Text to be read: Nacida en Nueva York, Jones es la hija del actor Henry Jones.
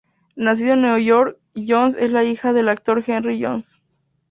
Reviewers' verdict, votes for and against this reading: accepted, 2, 0